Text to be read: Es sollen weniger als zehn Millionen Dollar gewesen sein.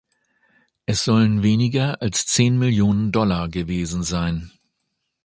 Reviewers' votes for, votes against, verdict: 2, 0, accepted